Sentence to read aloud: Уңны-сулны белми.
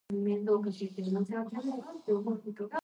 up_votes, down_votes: 0, 2